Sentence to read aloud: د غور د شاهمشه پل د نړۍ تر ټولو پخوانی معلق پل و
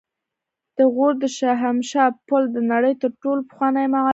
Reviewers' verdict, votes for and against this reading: rejected, 1, 2